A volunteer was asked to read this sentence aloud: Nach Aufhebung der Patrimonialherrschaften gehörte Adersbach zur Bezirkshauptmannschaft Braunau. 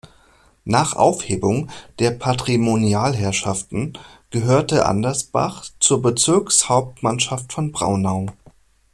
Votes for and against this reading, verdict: 0, 2, rejected